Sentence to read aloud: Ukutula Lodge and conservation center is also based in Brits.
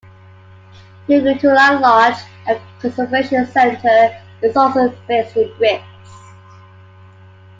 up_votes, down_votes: 2, 0